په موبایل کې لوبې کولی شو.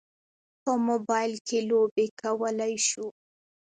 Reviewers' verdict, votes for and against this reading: rejected, 1, 2